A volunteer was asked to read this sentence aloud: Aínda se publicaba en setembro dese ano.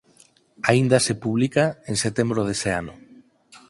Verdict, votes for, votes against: rejected, 0, 4